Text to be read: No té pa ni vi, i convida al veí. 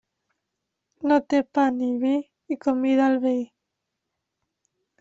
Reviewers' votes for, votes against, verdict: 2, 0, accepted